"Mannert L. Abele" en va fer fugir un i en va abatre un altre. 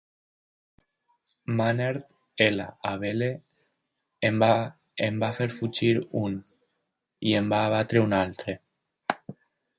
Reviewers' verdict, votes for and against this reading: rejected, 0, 2